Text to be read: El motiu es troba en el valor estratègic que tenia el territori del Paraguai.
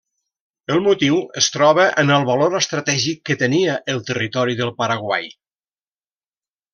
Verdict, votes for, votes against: accepted, 3, 0